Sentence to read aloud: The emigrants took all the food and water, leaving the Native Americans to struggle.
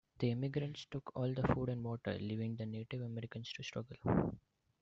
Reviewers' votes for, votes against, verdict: 1, 2, rejected